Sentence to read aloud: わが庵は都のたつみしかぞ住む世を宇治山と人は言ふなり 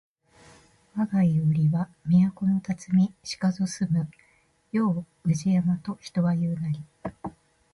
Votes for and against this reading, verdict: 2, 0, accepted